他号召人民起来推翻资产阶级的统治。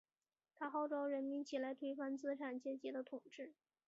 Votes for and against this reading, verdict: 3, 1, accepted